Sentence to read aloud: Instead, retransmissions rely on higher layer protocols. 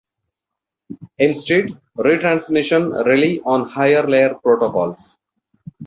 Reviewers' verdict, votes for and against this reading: rejected, 0, 2